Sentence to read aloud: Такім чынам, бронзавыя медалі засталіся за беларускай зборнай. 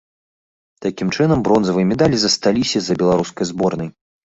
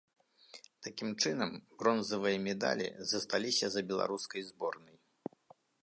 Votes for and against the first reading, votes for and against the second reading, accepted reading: 2, 1, 1, 2, first